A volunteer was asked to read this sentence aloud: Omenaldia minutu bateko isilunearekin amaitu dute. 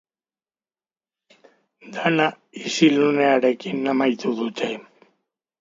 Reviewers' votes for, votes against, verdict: 0, 2, rejected